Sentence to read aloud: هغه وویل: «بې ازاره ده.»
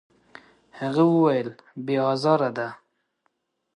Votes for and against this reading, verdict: 2, 0, accepted